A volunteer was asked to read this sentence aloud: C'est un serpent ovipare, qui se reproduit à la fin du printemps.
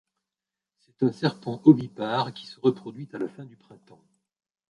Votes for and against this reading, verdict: 0, 2, rejected